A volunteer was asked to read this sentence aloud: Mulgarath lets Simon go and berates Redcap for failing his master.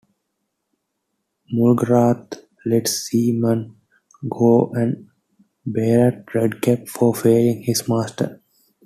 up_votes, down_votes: 1, 2